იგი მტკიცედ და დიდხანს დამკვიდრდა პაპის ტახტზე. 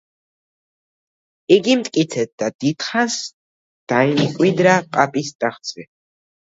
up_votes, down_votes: 0, 2